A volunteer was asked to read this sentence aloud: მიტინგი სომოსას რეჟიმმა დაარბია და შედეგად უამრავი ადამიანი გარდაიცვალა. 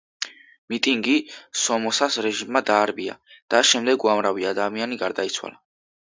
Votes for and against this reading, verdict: 1, 2, rejected